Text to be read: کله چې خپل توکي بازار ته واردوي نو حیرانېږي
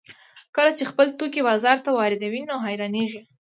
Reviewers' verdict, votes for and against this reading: accepted, 2, 0